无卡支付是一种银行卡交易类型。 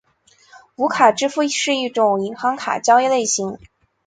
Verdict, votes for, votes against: accepted, 5, 0